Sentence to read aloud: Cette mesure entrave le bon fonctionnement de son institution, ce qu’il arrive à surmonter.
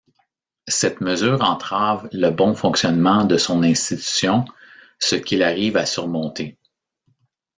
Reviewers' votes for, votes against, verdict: 2, 0, accepted